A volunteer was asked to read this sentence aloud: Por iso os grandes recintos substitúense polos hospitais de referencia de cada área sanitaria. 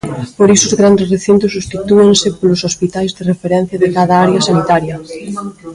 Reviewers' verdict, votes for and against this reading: rejected, 0, 2